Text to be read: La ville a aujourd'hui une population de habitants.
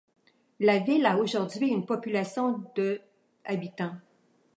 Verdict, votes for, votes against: accepted, 2, 0